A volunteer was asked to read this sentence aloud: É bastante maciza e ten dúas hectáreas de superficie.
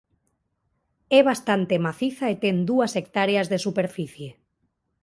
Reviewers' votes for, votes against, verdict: 2, 0, accepted